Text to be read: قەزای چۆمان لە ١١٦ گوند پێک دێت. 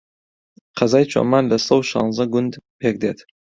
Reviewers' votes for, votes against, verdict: 0, 2, rejected